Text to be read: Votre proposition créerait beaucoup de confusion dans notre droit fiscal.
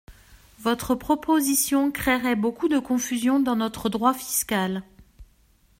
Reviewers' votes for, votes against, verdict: 2, 0, accepted